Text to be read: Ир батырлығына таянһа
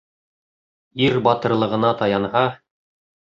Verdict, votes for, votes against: accepted, 2, 0